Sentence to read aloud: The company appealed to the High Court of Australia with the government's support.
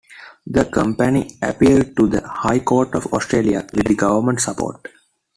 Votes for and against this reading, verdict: 2, 1, accepted